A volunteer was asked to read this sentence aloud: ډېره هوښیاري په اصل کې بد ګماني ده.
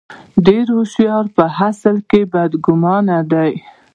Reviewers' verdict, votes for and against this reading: rejected, 1, 2